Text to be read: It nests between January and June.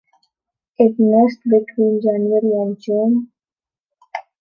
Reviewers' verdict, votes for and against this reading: accepted, 2, 1